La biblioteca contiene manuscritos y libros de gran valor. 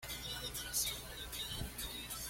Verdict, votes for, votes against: rejected, 0, 2